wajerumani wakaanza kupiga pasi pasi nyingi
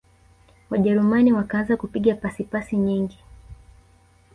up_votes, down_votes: 2, 0